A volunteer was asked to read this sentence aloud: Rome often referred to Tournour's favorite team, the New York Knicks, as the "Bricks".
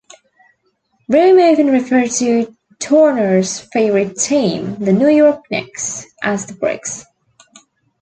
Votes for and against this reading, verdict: 0, 2, rejected